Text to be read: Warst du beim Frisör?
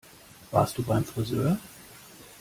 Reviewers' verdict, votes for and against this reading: accepted, 2, 0